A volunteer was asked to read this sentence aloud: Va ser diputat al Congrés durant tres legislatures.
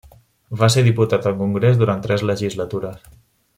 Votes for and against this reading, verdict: 3, 0, accepted